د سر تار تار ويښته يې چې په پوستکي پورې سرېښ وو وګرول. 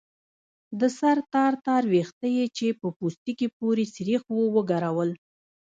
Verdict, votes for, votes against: rejected, 0, 2